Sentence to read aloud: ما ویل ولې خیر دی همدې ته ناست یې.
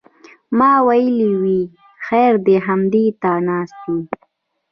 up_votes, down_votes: 1, 2